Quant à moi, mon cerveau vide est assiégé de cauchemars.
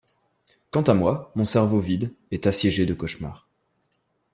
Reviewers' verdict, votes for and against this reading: accepted, 2, 0